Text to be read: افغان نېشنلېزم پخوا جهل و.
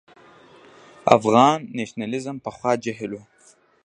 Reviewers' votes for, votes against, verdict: 0, 2, rejected